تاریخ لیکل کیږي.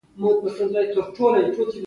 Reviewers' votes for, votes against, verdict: 2, 1, accepted